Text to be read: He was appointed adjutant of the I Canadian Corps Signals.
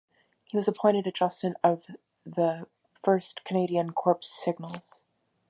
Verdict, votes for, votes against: rejected, 1, 2